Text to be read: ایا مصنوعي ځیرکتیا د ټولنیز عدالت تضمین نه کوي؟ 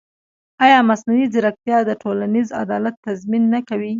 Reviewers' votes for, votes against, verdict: 2, 0, accepted